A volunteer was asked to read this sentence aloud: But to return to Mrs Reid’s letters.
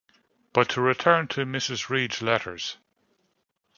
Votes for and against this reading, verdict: 1, 2, rejected